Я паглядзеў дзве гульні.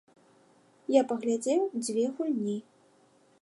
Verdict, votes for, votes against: accepted, 2, 0